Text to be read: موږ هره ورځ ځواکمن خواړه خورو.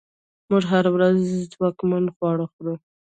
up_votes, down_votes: 1, 2